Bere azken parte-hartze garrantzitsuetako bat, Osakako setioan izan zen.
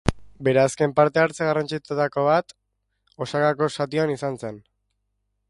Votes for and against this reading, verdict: 1, 2, rejected